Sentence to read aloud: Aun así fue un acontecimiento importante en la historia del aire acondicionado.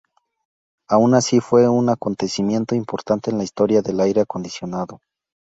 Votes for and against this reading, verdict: 2, 0, accepted